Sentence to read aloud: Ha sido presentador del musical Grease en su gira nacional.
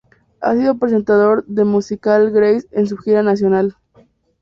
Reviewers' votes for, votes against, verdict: 4, 2, accepted